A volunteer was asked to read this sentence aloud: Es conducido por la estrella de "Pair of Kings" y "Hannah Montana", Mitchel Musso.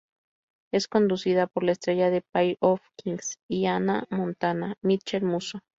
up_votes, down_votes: 2, 0